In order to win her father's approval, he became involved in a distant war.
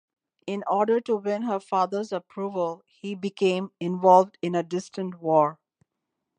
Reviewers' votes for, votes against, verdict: 2, 0, accepted